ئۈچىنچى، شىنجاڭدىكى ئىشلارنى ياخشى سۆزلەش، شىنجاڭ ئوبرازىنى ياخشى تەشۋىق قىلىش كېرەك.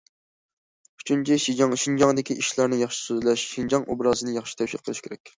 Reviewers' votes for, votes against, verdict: 0, 2, rejected